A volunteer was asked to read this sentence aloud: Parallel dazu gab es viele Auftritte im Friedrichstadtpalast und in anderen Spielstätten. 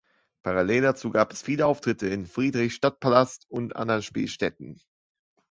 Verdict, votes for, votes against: accepted, 2, 1